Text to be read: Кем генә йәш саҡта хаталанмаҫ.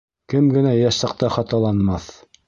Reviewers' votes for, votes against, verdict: 2, 0, accepted